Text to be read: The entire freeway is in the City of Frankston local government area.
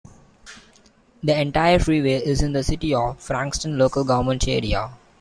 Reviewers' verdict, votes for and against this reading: rejected, 1, 2